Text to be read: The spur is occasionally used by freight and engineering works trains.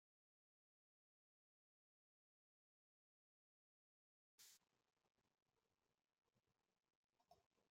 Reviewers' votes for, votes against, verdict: 0, 2, rejected